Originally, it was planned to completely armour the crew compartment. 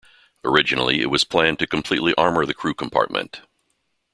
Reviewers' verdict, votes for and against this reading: accepted, 2, 0